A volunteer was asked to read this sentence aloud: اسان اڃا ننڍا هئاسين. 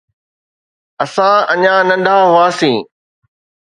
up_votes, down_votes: 2, 0